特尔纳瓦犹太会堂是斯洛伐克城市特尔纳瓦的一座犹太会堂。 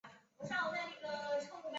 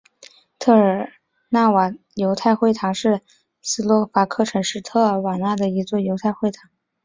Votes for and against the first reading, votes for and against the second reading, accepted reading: 1, 2, 2, 1, second